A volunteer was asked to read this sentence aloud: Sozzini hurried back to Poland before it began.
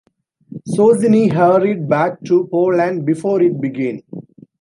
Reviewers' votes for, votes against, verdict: 2, 3, rejected